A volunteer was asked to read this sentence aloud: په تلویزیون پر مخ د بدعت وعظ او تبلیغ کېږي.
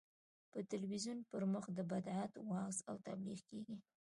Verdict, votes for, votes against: accepted, 2, 0